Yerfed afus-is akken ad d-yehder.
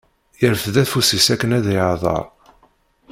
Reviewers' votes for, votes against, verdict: 1, 2, rejected